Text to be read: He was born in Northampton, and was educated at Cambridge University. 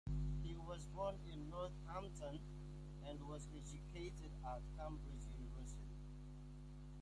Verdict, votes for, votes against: accepted, 2, 0